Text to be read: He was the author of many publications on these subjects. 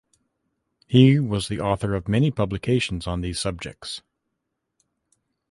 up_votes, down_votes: 2, 1